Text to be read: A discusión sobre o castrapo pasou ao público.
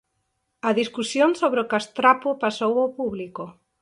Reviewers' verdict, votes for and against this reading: accepted, 4, 2